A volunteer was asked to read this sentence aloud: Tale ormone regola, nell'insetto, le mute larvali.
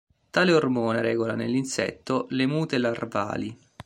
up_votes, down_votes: 2, 0